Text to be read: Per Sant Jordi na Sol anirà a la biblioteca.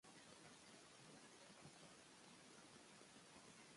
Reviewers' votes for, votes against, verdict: 0, 2, rejected